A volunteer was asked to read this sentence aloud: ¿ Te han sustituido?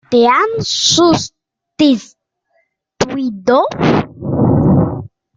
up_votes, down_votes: 0, 2